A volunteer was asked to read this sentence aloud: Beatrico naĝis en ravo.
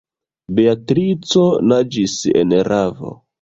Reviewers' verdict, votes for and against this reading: accepted, 2, 1